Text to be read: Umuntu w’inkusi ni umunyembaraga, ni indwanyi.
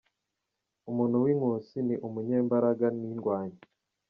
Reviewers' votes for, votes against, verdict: 2, 0, accepted